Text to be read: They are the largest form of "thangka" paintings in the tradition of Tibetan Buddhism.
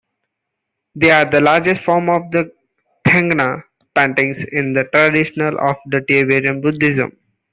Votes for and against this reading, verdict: 0, 2, rejected